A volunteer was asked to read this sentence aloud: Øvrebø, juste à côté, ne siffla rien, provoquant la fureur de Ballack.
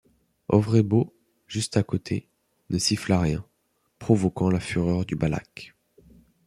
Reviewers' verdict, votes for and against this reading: rejected, 0, 2